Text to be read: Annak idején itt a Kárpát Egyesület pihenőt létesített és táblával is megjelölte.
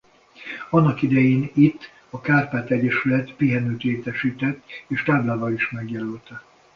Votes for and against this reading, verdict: 2, 0, accepted